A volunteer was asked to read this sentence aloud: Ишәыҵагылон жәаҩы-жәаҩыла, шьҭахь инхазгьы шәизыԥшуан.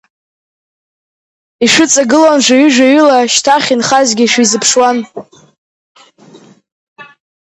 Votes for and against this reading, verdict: 4, 0, accepted